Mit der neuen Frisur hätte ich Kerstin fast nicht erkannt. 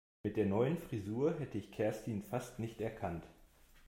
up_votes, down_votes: 2, 0